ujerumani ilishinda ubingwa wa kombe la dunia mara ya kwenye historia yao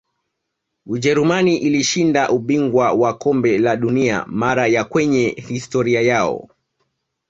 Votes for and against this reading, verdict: 1, 2, rejected